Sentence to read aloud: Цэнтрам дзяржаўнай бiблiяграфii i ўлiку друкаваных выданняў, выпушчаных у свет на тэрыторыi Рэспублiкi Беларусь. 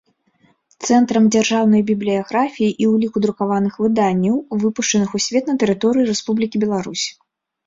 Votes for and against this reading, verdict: 2, 0, accepted